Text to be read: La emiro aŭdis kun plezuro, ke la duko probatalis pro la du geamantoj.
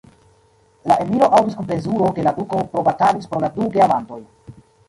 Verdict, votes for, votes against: rejected, 0, 2